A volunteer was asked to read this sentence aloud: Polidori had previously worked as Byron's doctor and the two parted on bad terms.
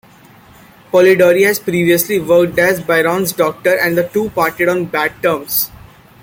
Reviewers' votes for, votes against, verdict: 0, 2, rejected